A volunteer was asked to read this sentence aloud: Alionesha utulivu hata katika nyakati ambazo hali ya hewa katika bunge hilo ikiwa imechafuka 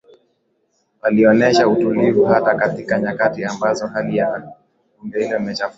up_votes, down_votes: 4, 2